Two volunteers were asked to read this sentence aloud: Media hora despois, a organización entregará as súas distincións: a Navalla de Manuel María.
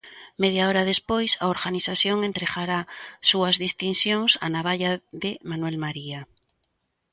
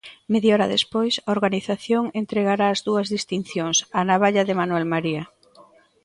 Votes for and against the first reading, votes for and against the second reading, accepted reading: 7, 1, 1, 2, first